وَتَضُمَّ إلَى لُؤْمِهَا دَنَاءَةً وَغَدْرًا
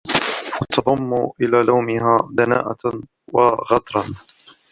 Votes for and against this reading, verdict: 2, 0, accepted